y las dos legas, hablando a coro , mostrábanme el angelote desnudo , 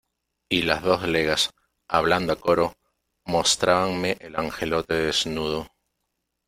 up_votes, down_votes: 0, 2